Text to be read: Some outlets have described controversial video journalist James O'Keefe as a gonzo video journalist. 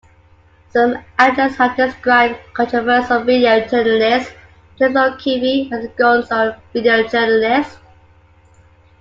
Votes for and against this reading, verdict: 2, 1, accepted